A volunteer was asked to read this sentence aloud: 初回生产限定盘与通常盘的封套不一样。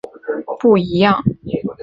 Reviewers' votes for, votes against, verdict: 1, 2, rejected